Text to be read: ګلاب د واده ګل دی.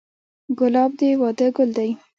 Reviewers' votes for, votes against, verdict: 0, 2, rejected